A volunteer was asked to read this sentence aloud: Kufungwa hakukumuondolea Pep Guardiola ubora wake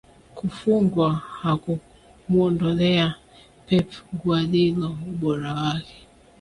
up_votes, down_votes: 5, 1